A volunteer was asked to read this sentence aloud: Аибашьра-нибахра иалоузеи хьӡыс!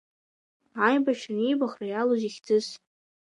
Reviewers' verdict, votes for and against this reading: accepted, 2, 0